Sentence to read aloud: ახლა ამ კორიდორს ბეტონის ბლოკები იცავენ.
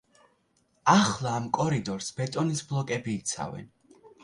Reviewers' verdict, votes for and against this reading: accepted, 2, 0